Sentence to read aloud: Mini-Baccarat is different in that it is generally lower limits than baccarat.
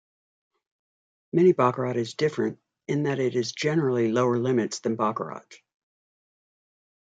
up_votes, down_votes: 0, 2